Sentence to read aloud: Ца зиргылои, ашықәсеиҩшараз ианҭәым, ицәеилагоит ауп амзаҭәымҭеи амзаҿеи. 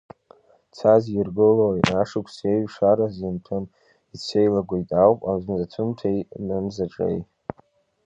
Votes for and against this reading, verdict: 2, 0, accepted